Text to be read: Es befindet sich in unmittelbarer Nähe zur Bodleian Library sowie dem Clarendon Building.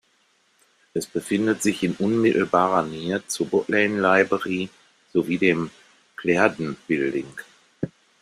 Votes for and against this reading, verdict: 0, 2, rejected